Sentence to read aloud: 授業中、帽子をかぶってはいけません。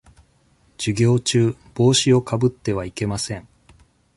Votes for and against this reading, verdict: 2, 0, accepted